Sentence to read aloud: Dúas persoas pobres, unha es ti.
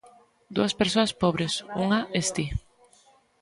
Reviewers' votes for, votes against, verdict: 2, 0, accepted